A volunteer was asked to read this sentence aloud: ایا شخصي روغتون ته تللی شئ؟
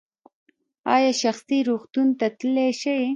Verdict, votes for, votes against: rejected, 0, 2